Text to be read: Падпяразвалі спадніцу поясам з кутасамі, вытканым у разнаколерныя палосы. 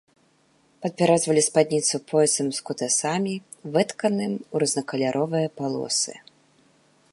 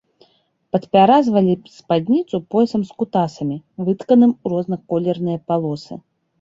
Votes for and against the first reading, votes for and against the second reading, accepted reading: 0, 2, 2, 0, second